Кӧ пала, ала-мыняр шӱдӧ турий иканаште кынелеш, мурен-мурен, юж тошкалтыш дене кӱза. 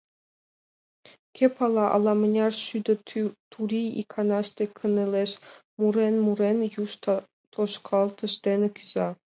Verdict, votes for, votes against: rejected, 2, 3